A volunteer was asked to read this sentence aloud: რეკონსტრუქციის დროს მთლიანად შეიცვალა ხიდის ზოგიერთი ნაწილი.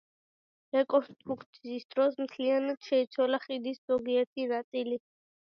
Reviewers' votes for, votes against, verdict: 2, 0, accepted